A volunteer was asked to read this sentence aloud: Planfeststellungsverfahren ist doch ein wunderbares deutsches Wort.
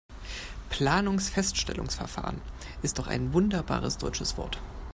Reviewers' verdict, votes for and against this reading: rejected, 0, 2